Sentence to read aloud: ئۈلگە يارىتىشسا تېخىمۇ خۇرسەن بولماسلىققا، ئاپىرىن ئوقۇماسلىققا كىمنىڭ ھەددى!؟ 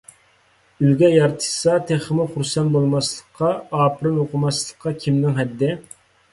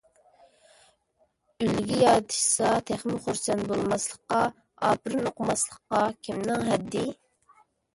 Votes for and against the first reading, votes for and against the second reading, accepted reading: 2, 0, 0, 2, first